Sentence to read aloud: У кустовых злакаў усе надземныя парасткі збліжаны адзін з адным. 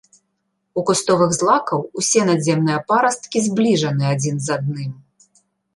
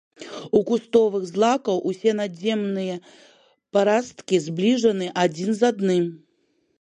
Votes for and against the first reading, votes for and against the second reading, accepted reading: 2, 0, 0, 2, first